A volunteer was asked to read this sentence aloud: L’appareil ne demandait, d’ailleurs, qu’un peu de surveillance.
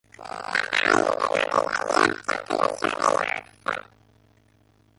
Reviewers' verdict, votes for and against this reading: rejected, 0, 2